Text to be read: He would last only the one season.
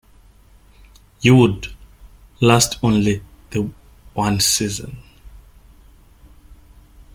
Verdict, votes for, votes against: rejected, 0, 2